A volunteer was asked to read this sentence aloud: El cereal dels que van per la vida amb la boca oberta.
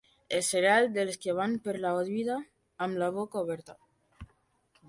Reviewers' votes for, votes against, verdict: 2, 1, accepted